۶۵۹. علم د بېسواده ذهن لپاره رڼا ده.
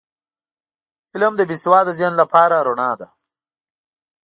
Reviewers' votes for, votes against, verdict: 0, 2, rejected